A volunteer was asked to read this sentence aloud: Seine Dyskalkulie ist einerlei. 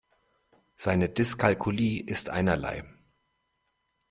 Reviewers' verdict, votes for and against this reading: accepted, 2, 0